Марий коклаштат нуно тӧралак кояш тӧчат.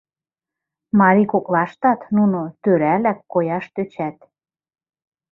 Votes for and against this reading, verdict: 1, 2, rejected